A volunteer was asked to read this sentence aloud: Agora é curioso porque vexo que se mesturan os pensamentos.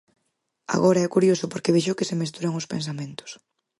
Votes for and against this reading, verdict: 4, 0, accepted